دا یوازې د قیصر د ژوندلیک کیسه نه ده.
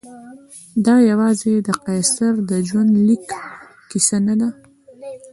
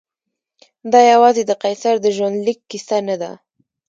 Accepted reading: first